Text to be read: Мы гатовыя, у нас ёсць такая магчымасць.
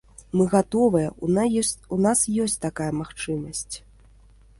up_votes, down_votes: 0, 3